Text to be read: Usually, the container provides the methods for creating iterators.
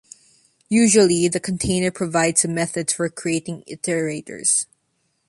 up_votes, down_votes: 2, 0